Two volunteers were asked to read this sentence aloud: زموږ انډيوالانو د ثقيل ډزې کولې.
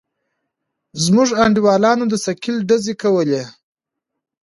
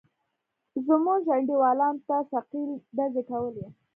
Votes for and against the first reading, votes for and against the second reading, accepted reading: 2, 0, 0, 2, first